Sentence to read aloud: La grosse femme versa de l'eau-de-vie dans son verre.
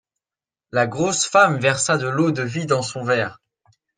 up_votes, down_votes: 2, 0